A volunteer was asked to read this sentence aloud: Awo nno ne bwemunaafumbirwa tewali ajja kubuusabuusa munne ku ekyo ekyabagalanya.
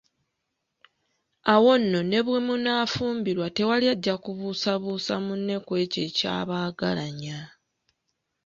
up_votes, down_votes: 1, 2